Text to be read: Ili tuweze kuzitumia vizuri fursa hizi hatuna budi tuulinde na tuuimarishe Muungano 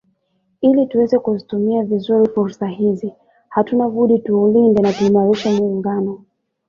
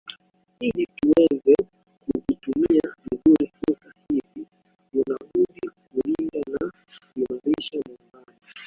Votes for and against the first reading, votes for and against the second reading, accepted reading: 2, 0, 0, 2, first